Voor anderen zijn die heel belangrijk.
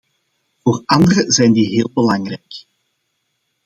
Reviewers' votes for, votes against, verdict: 2, 0, accepted